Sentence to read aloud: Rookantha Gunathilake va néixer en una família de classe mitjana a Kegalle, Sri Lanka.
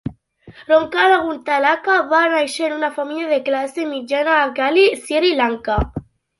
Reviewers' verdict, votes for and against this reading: rejected, 0, 2